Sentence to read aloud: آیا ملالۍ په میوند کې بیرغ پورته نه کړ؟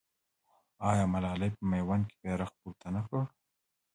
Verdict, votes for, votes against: rejected, 1, 2